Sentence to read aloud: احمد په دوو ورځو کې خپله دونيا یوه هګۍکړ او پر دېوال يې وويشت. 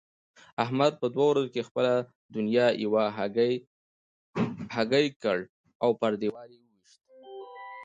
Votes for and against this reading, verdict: 1, 2, rejected